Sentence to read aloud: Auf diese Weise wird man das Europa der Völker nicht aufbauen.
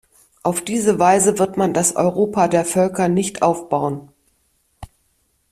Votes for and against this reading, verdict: 2, 0, accepted